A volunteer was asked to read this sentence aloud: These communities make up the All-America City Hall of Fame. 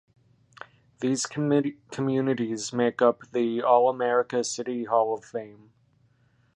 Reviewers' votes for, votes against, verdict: 0, 2, rejected